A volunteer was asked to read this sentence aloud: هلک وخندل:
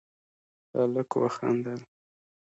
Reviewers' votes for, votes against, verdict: 2, 0, accepted